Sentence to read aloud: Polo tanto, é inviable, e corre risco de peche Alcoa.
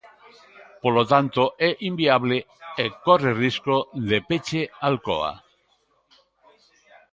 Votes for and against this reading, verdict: 2, 1, accepted